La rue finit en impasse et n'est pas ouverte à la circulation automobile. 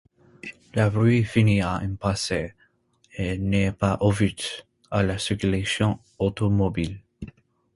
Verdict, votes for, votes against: rejected, 1, 2